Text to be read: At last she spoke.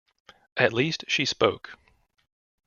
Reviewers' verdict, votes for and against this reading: rejected, 1, 2